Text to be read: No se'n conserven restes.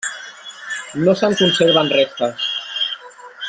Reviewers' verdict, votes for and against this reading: rejected, 1, 2